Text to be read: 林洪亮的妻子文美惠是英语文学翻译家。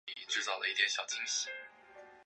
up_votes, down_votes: 0, 2